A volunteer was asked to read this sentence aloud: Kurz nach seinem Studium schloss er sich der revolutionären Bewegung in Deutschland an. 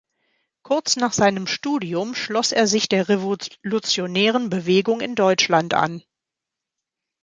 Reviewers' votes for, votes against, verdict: 1, 2, rejected